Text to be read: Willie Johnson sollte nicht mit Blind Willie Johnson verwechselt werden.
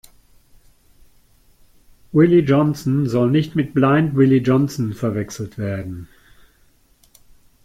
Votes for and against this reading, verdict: 0, 2, rejected